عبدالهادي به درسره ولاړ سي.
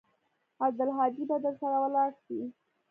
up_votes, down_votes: 2, 0